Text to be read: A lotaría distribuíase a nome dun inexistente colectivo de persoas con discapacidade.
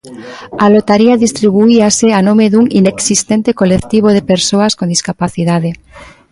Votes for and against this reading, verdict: 1, 2, rejected